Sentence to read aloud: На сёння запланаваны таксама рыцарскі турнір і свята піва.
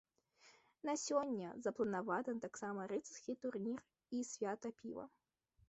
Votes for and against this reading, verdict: 2, 1, accepted